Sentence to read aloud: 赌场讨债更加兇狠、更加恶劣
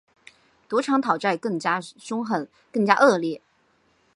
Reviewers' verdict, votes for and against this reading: accepted, 7, 0